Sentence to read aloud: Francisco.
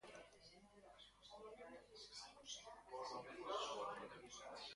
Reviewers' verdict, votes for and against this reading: rejected, 0, 2